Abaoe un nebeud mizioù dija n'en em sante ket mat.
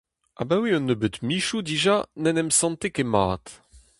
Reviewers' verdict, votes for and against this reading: accepted, 2, 0